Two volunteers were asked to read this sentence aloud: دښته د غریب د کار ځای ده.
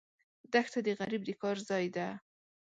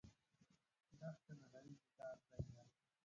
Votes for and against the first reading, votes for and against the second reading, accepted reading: 2, 0, 1, 2, first